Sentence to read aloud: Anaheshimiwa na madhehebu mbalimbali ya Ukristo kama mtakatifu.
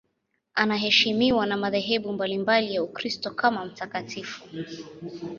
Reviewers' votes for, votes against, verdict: 2, 0, accepted